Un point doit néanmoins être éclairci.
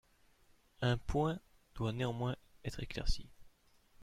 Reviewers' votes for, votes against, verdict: 1, 2, rejected